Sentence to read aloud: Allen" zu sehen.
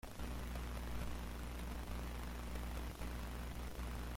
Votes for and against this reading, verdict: 0, 2, rejected